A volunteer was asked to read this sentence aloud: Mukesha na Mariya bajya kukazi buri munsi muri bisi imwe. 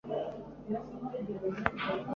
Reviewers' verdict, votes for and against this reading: rejected, 0, 3